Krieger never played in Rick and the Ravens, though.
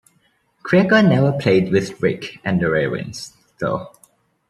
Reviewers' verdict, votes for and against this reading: rejected, 0, 2